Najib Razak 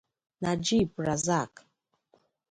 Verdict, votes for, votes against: accepted, 2, 0